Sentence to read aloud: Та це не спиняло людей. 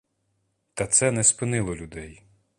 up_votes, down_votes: 0, 2